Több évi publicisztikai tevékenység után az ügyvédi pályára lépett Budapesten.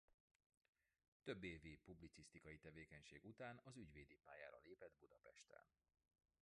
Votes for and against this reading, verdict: 0, 2, rejected